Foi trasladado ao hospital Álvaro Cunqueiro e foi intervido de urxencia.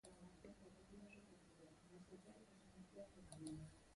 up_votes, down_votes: 0, 2